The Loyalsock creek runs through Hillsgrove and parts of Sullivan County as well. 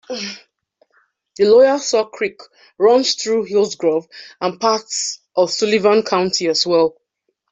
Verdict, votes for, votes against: rejected, 1, 2